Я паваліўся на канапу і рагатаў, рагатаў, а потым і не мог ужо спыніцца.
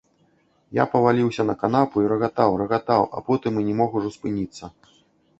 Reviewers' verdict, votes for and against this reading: accepted, 2, 0